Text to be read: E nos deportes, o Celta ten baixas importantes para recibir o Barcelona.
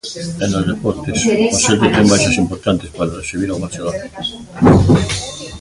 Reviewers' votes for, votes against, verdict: 0, 2, rejected